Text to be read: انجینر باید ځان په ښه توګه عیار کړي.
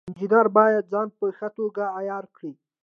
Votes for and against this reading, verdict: 2, 0, accepted